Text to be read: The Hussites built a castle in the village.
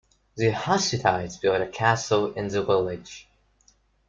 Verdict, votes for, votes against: rejected, 1, 2